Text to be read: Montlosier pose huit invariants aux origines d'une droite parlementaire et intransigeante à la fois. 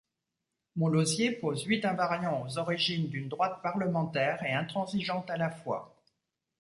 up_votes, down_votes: 2, 0